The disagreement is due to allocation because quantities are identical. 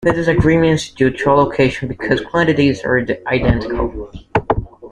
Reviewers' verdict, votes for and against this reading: rejected, 0, 2